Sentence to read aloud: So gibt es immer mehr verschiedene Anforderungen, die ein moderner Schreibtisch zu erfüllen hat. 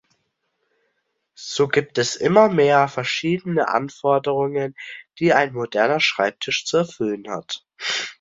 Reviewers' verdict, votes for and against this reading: accepted, 2, 0